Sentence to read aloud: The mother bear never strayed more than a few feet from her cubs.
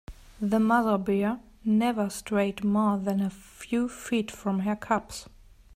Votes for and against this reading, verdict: 2, 0, accepted